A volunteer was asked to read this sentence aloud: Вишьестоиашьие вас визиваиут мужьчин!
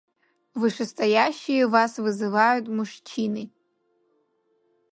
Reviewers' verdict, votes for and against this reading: rejected, 1, 2